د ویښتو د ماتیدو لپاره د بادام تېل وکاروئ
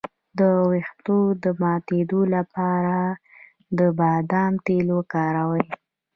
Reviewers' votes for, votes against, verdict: 0, 2, rejected